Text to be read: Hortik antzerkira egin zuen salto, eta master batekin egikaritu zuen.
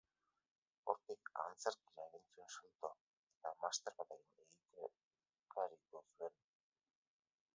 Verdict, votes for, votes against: rejected, 0, 2